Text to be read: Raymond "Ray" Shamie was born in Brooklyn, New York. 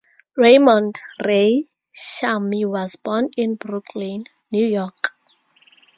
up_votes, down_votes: 4, 0